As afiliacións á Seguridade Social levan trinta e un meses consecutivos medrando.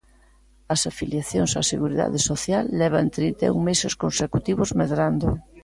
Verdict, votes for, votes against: accepted, 2, 0